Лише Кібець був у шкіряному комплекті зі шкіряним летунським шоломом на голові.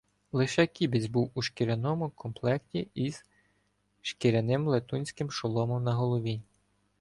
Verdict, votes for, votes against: rejected, 1, 2